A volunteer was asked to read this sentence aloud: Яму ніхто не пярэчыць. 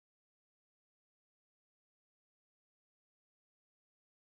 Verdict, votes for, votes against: rejected, 0, 2